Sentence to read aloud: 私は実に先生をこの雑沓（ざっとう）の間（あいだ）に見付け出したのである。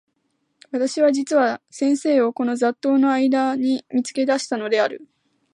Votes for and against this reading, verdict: 2, 0, accepted